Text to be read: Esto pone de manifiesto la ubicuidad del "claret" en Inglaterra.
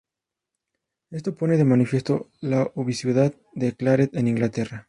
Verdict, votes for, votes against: rejected, 0, 2